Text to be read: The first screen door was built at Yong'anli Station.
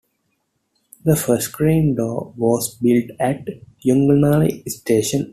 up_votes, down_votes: 2, 0